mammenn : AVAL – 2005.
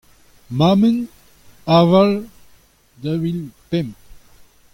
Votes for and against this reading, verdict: 0, 2, rejected